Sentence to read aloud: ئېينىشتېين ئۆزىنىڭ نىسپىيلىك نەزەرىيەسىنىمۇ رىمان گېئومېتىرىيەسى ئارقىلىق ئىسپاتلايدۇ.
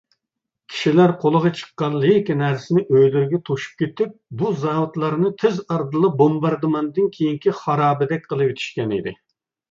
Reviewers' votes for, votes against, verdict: 0, 2, rejected